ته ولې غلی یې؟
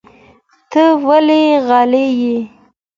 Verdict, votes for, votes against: accepted, 2, 0